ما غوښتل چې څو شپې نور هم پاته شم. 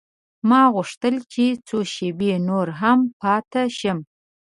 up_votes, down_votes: 0, 2